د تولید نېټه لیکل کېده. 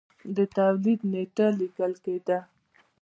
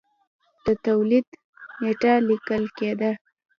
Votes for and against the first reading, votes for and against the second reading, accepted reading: 2, 0, 1, 2, first